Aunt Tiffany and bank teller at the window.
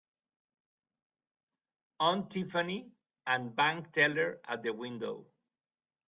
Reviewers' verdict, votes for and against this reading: accepted, 2, 1